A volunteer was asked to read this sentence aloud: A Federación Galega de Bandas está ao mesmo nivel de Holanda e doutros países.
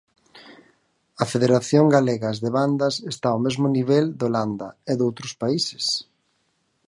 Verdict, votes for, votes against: rejected, 2, 2